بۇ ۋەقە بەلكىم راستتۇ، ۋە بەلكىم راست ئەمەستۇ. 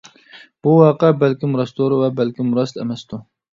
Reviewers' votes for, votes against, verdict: 2, 0, accepted